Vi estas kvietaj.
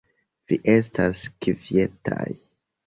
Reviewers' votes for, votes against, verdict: 2, 0, accepted